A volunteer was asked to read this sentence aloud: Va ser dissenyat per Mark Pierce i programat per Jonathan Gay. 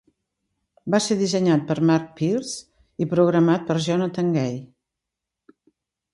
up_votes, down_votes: 3, 0